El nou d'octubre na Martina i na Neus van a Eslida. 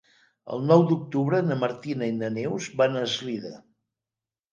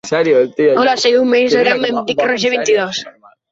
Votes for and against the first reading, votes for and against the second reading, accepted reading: 2, 0, 0, 2, first